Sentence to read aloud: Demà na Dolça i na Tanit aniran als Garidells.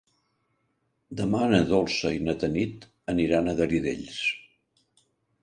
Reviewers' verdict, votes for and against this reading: accepted, 2, 1